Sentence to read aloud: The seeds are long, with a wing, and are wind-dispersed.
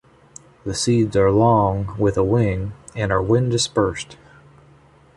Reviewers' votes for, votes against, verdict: 2, 1, accepted